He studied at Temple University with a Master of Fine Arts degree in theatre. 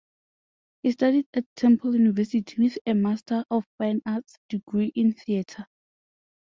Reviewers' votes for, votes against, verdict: 2, 0, accepted